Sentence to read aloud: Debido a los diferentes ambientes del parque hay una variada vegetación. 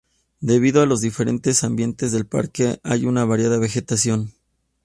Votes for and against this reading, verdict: 2, 0, accepted